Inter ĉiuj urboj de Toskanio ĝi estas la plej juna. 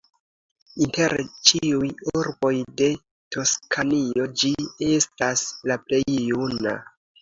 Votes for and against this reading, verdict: 2, 0, accepted